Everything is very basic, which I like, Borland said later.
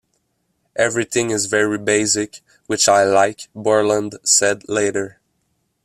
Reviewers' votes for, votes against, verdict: 2, 0, accepted